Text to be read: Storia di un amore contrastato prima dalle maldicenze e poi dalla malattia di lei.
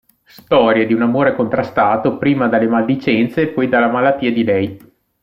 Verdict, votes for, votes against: accepted, 2, 0